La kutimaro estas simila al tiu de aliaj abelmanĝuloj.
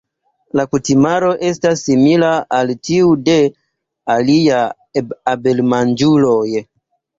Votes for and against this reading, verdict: 2, 1, accepted